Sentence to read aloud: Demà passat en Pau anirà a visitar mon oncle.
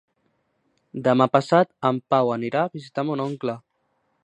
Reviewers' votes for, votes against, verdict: 2, 0, accepted